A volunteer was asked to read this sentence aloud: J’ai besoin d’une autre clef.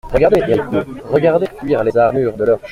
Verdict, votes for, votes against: rejected, 0, 2